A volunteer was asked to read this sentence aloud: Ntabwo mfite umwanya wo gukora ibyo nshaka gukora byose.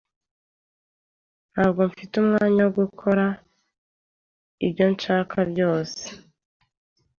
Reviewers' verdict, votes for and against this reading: rejected, 1, 2